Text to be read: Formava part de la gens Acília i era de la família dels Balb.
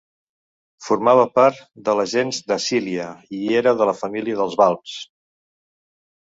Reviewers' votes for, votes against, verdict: 1, 2, rejected